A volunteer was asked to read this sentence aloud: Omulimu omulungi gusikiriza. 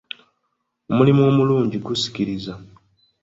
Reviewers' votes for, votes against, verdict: 2, 0, accepted